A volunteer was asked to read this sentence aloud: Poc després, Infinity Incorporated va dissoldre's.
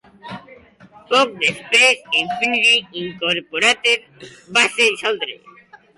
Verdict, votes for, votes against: rejected, 1, 2